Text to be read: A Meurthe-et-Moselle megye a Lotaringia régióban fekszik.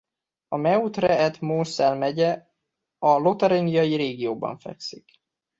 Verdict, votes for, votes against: rejected, 1, 2